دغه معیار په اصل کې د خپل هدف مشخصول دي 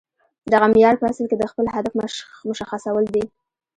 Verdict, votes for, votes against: rejected, 1, 2